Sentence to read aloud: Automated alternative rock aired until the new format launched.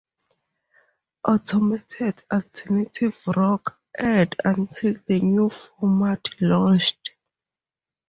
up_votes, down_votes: 2, 2